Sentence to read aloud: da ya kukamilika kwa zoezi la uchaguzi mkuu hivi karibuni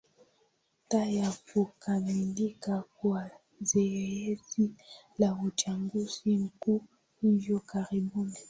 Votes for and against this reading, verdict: 2, 0, accepted